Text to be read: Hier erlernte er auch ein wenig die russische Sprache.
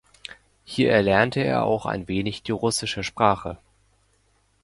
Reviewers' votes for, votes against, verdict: 2, 0, accepted